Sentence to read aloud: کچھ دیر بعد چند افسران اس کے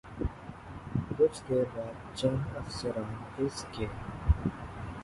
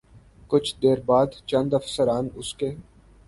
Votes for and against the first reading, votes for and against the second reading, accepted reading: 1, 2, 8, 0, second